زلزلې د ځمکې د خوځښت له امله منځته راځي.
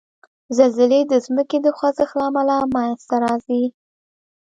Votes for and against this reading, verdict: 1, 2, rejected